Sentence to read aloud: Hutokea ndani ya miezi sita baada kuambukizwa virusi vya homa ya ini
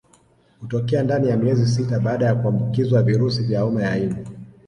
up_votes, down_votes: 2, 0